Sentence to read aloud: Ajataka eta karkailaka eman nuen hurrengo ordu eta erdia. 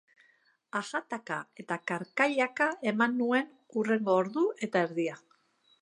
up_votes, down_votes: 3, 0